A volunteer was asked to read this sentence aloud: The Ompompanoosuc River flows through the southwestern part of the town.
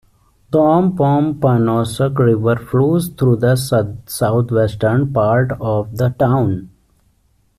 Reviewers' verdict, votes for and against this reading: rejected, 1, 2